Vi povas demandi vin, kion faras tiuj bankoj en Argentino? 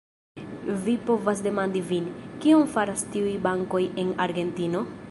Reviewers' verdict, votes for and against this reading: rejected, 0, 2